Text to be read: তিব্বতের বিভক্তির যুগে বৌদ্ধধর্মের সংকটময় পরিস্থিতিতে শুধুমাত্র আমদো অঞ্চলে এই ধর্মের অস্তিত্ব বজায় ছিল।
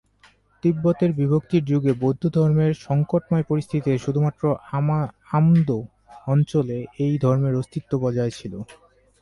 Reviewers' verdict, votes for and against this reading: rejected, 0, 2